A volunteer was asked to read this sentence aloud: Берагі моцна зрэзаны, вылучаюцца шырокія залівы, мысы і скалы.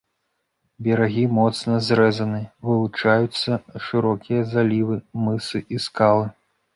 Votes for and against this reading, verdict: 2, 0, accepted